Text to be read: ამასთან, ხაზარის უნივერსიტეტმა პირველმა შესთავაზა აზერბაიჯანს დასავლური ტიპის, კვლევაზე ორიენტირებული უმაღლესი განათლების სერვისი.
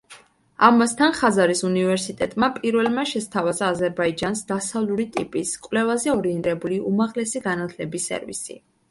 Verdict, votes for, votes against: accepted, 3, 1